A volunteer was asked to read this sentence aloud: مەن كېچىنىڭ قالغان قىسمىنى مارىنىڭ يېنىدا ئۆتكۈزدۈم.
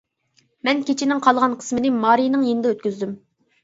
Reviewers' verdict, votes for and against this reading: accepted, 2, 0